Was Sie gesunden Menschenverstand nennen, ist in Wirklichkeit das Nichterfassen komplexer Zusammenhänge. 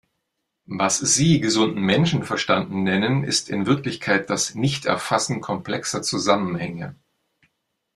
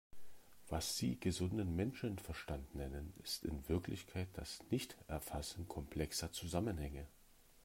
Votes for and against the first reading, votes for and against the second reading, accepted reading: 2, 1, 0, 2, first